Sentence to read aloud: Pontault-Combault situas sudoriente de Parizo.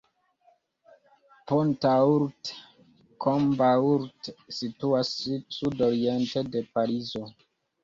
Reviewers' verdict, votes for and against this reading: rejected, 1, 2